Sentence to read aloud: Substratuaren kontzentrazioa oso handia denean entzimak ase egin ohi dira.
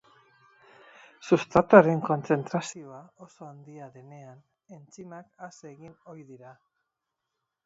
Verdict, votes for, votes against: rejected, 0, 4